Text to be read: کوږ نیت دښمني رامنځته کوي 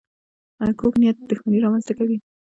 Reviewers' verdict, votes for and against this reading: rejected, 1, 2